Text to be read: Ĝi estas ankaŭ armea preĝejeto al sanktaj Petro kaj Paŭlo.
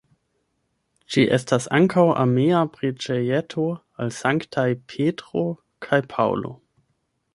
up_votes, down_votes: 1, 2